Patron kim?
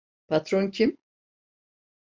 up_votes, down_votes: 2, 0